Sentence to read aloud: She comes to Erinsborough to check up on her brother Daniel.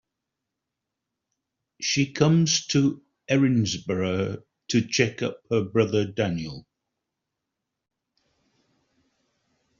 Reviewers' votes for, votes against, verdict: 0, 2, rejected